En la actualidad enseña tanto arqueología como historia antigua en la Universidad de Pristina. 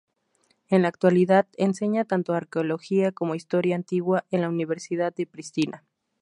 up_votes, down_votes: 2, 0